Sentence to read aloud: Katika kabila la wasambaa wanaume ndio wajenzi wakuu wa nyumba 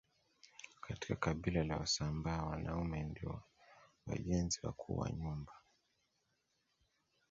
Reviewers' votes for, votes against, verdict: 0, 2, rejected